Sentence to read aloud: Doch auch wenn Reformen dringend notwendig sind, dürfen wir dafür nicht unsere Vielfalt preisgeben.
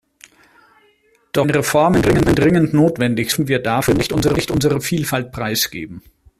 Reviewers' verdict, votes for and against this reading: rejected, 0, 2